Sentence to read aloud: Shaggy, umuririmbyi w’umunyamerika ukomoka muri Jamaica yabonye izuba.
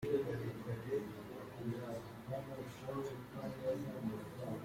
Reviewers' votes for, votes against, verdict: 0, 2, rejected